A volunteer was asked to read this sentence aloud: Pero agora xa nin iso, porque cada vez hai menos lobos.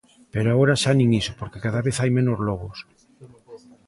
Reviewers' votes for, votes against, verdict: 1, 2, rejected